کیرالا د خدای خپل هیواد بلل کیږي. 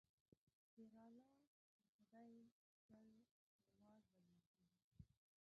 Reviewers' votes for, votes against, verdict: 1, 2, rejected